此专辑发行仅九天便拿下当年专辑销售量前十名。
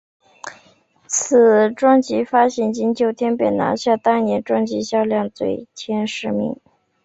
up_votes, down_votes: 2, 3